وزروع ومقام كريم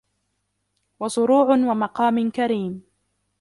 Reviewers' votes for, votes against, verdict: 1, 2, rejected